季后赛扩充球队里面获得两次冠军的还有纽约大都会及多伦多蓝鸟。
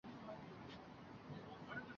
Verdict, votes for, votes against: rejected, 0, 4